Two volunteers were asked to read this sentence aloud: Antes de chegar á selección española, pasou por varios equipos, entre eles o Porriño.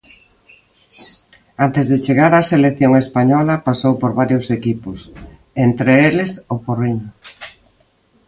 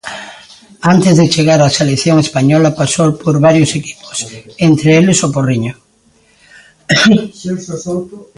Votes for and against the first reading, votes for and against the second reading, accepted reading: 2, 0, 0, 2, first